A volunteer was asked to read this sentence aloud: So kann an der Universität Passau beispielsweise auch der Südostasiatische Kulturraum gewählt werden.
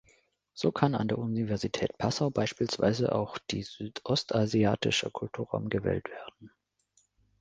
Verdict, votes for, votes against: rejected, 1, 2